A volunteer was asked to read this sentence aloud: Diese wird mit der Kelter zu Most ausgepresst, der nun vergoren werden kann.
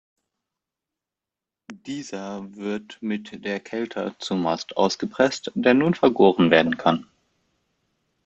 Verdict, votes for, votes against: rejected, 0, 2